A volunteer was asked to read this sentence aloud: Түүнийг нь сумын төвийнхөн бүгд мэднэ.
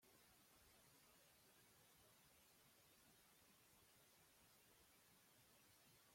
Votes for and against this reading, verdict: 0, 2, rejected